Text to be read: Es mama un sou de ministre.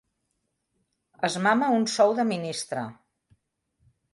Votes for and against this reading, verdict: 3, 0, accepted